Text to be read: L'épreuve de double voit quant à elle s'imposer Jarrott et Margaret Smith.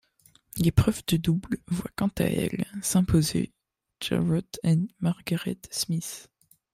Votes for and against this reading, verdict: 0, 2, rejected